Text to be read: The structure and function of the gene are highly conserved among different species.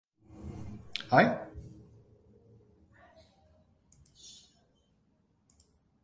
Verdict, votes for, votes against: rejected, 0, 2